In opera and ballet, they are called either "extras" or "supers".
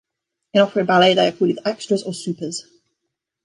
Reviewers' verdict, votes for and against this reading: rejected, 0, 2